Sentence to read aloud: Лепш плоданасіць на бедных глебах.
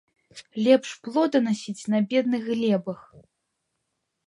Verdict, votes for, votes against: accepted, 2, 0